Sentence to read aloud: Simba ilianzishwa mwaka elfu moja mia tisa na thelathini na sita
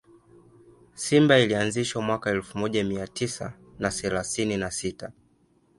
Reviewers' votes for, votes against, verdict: 2, 1, accepted